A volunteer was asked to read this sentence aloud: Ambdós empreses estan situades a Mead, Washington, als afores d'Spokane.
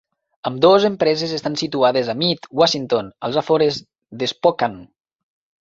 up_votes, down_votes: 5, 0